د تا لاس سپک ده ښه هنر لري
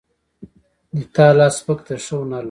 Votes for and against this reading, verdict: 2, 0, accepted